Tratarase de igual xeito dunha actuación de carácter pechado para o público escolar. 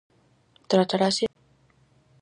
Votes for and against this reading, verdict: 0, 4, rejected